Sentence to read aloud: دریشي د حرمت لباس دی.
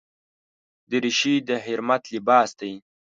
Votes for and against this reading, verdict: 1, 2, rejected